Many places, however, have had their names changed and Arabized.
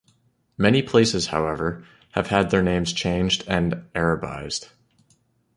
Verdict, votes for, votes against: accepted, 2, 1